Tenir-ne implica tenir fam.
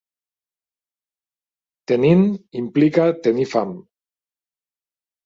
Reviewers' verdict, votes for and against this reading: rejected, 0, 2